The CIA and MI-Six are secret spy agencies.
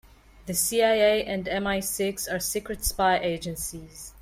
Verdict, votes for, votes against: accepted, 2, 0